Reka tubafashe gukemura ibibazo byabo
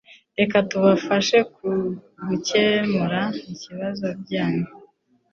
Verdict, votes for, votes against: rejected, 0, 2